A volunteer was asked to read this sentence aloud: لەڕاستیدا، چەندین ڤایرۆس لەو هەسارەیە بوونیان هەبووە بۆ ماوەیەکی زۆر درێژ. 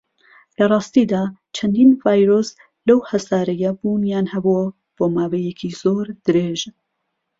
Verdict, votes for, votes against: accepted, 2, 0